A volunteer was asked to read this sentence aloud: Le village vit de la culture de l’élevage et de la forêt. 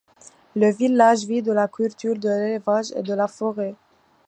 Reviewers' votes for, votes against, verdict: 2, 1, accepted